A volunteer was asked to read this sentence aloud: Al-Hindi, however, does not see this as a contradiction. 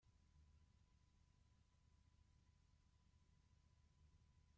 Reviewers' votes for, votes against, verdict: 0, 2, rejected